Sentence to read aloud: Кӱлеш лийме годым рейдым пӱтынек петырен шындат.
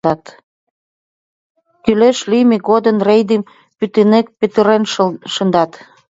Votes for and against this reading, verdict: 1, 2, rejected